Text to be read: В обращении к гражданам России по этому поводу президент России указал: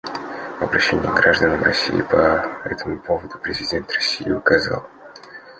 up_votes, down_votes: 2, 0